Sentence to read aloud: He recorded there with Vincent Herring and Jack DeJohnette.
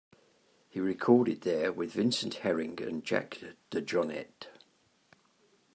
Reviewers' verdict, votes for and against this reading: accepted, 2, 0